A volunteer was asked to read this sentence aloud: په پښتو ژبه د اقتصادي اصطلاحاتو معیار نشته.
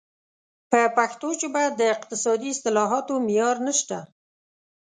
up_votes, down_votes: 2, 0